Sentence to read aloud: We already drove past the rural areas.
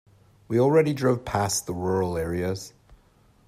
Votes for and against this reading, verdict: 2, 0, accepted